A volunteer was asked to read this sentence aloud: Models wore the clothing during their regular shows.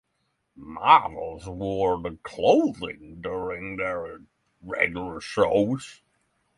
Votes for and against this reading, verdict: 3, 6, rejected